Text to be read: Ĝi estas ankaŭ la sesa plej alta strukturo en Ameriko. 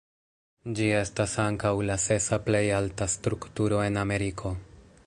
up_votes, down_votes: 2, 0